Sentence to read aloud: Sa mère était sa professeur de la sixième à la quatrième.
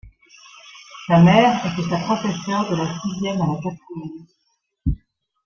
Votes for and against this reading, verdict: 1, 2, rejected